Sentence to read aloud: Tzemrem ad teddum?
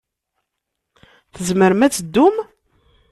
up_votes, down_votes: 3, 0